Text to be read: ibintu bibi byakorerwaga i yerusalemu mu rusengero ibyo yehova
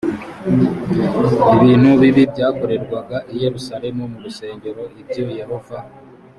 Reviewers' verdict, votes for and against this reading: accepted, 3, 1